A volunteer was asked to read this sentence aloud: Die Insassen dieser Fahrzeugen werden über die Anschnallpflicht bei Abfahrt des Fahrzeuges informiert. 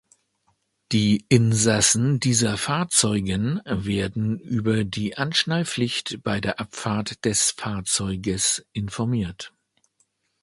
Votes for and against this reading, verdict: 1, 2, rejected